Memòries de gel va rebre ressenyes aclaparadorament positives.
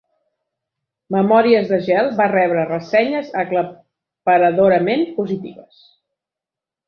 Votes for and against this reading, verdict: 0, 2, rejected